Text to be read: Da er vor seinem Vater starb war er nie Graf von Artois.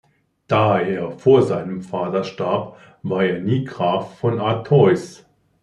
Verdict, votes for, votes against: accepted, 2, 0